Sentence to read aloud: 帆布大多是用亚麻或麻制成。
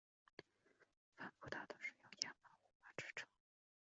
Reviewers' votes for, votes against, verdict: 0, 2, rejected